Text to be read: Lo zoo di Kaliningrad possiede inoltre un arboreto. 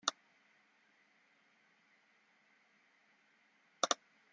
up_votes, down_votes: 0, 2